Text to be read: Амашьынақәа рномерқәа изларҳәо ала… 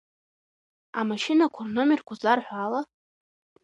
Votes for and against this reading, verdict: 1, 2, rejected